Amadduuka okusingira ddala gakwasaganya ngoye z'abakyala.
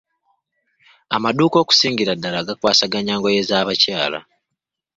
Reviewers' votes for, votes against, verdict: 2, 1, accepted